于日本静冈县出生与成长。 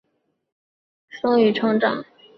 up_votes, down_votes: 1, 2